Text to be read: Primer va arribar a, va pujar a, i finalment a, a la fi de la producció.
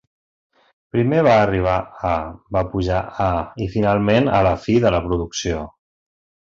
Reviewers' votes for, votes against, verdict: 0, 2, rejected